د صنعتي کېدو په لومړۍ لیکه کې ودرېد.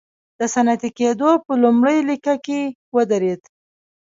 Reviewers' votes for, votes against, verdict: 1, 2, rejected